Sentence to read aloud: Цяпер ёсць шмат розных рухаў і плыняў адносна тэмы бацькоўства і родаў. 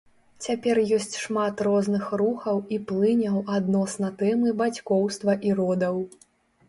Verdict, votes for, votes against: accepted, 3, 0